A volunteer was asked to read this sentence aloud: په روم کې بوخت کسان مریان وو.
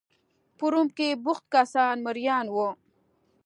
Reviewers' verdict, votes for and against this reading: accepted, 2, 0